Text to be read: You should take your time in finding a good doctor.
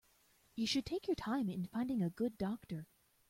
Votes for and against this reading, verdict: 2, 0, accepted